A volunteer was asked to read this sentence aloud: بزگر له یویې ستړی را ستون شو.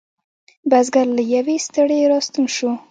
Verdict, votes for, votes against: accepted, 2, 0